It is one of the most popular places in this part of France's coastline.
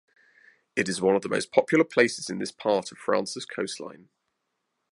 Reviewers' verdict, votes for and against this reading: accepted, 2, 0